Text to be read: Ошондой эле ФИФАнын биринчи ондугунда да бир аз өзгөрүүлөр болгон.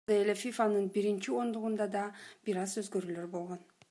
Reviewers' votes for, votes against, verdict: 0, 2, rejected